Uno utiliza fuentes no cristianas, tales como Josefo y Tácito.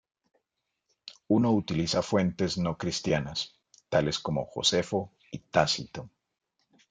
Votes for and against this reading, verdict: 2, 0, accepted